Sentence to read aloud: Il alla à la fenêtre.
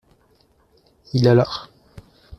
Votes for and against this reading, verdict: 0, 2, rejected